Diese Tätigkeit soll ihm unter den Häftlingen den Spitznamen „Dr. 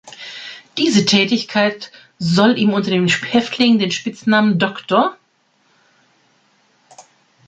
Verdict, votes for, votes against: rejected, 0, 2